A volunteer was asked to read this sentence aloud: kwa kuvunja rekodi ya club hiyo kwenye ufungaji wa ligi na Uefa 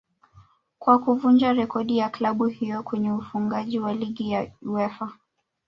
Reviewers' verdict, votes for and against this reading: rejected, 0, 2